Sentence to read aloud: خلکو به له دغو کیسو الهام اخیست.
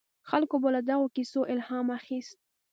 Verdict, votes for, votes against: accepted, 2, 0